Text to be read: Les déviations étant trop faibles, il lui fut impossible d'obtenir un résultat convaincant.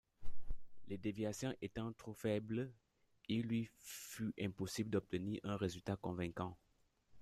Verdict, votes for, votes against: rejected, 1, 2